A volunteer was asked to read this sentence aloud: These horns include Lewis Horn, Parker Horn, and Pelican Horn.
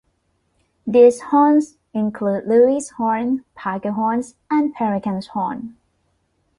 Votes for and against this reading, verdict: 1, 2, rejected